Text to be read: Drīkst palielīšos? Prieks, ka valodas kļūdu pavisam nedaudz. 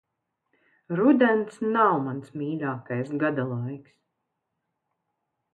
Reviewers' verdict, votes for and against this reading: rejected, 0, 2